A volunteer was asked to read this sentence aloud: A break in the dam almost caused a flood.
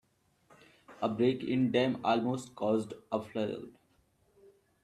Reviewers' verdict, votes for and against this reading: rejected, 0, 2